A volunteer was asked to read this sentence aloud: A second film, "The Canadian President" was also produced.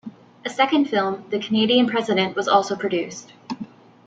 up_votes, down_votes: 2, 1